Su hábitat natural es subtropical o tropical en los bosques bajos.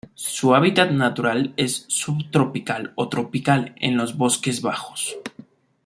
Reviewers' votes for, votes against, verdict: 2, 0, accepted